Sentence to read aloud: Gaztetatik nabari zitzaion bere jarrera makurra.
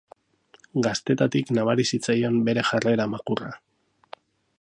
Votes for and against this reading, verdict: 4, 0, accepted